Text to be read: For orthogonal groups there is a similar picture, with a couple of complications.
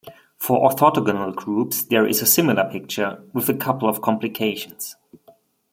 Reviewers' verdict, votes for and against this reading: accepted, 2, 1